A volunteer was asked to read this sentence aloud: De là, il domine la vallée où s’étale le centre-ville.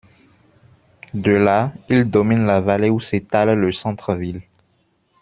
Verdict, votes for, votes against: accepted, 2, 0